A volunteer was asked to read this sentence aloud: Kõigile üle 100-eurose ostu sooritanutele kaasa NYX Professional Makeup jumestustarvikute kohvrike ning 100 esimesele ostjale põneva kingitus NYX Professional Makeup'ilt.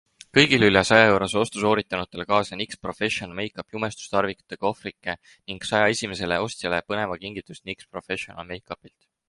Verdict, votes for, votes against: rejected, 0, 2